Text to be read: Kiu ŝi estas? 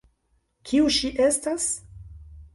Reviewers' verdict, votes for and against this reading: accepted, 2, 0